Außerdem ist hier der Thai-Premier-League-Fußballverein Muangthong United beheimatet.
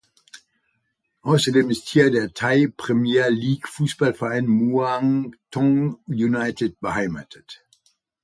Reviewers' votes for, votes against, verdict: 2, 0, accepted